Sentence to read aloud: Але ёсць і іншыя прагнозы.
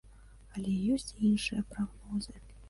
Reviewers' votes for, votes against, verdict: 1, 2, rejected